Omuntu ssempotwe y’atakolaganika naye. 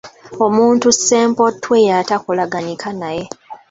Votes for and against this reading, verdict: 2, 0, accepted